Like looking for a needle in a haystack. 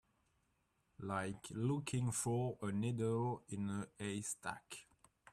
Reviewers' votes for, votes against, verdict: 2, 0, accepted